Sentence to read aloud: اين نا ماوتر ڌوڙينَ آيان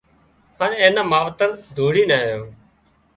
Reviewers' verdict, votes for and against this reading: rejected, 0, 2